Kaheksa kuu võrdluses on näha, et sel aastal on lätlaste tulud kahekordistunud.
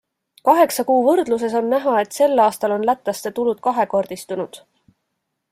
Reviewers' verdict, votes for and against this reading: accepted, 2, 0